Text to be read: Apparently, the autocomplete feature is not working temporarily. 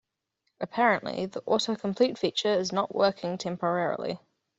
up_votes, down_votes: 2, 0